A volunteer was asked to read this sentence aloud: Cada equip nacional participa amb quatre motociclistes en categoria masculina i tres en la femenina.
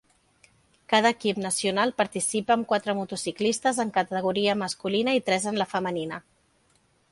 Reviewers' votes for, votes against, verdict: 4, 0, accepted